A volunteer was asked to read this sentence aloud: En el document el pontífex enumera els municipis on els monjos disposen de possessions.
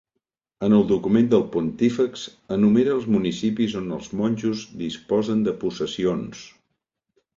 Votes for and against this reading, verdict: 1, 2, rejected